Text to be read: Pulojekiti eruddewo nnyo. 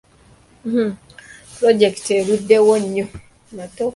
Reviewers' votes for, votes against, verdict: 0, 2, rejected